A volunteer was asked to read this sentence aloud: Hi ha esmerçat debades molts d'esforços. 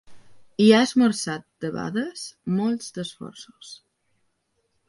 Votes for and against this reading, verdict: 3, 0, accepted